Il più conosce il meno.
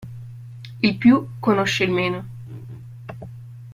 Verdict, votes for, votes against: accepted, 2, 0